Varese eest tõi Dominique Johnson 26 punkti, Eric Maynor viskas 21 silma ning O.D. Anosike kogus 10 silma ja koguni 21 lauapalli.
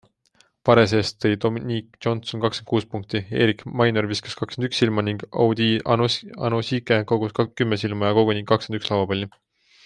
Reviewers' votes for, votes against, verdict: 0, 2, rejected